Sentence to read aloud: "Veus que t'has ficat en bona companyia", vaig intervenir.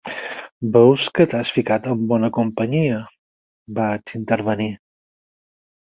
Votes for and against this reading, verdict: 4, 0, accepted